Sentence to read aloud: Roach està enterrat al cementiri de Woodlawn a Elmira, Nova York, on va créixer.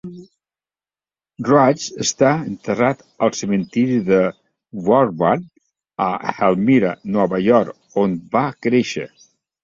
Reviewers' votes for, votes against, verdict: 1, 2, rejected